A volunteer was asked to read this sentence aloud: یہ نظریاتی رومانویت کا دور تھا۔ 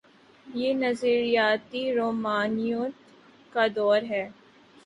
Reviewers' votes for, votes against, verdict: 0, 3, rejected